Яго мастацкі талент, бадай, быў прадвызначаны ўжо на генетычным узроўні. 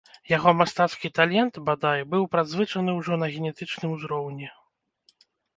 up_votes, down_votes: 0, 2